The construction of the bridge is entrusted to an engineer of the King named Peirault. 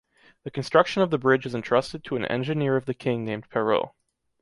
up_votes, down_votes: 2, 0